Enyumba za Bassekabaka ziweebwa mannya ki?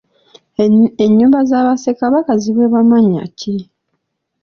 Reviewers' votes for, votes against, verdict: 2, 0, accepted